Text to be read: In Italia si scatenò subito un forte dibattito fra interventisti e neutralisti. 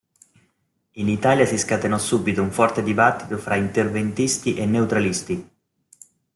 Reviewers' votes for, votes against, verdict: 2, 0, accepted